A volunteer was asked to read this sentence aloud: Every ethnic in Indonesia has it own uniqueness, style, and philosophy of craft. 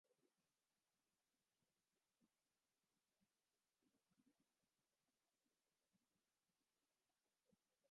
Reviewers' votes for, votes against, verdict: 0, 2, rejected